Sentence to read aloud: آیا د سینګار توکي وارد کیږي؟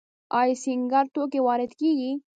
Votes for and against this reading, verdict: 1, 2, rejected